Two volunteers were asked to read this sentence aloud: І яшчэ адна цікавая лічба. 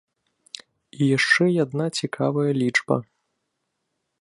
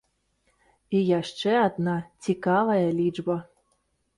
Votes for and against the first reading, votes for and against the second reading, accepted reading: 0, 2, 2, 0, second